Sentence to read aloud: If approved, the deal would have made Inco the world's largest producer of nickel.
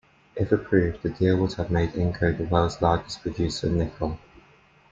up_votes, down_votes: 2, 0